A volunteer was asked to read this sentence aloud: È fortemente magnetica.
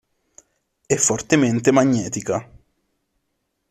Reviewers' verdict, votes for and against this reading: accepted, 3, 0